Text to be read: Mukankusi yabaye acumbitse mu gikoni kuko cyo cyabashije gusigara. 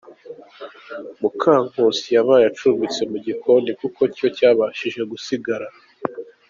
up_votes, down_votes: 2, 1